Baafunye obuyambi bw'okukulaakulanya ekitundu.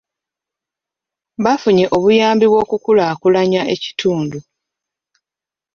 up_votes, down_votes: 2, 0